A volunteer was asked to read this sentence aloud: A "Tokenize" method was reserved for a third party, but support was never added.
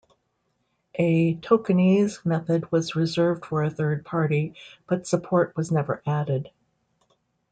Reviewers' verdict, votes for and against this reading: rejected, 1, 2